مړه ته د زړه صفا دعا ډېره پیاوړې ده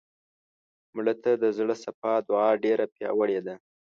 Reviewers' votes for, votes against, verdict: 2, 0, accepted